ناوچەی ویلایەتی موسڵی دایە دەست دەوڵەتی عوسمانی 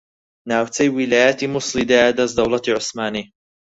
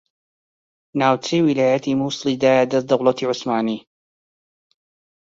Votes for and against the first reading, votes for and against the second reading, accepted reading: 0, 4, 2, 0, second